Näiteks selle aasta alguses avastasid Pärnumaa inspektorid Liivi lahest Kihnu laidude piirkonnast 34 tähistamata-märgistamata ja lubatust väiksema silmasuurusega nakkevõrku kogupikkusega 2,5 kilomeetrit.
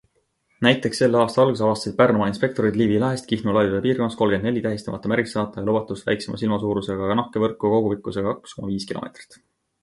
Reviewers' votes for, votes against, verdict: 0, 2, rejected